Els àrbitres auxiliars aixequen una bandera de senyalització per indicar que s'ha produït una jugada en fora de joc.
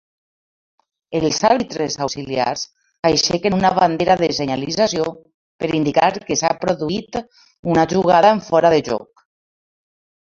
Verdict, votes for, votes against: accepted, 2, 1